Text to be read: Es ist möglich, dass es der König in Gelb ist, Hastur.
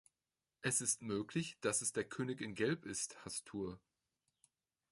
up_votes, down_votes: 2, 0